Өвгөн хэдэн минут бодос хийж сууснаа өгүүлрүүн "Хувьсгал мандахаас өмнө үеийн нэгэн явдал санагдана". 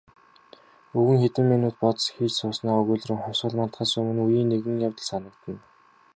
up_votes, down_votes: 2, 0